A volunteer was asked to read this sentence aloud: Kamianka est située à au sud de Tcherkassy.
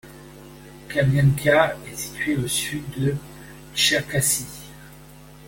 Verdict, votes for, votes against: accepted, 2, 0